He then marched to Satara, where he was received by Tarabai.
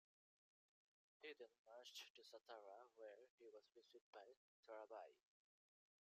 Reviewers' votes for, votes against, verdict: 1, 2, rejected